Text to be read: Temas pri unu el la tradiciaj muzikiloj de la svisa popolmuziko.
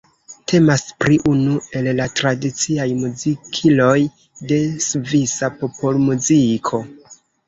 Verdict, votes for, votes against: rejected, 1, 3